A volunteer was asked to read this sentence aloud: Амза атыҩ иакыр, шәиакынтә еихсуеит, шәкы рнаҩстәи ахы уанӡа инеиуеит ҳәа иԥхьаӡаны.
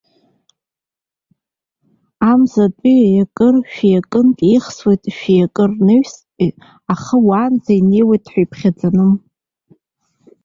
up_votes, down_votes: 0, 2